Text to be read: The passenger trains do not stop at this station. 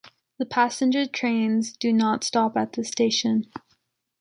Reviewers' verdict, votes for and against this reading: accepted, 2, 0